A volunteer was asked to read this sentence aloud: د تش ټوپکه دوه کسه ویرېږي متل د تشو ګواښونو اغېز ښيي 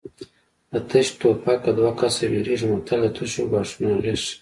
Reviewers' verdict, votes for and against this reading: accepted, 2, 0